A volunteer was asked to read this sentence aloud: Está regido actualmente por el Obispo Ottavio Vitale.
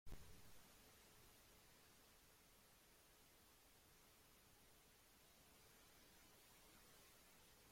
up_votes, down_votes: 0, 2